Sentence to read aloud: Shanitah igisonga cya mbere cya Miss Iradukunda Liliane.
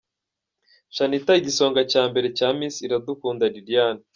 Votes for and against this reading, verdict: 2, 0, accepted